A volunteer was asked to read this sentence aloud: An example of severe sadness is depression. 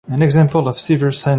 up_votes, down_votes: 0, 2